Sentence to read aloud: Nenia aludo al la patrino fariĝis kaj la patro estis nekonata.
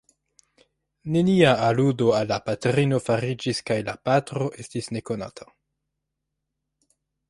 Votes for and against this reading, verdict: 2, 0, accepted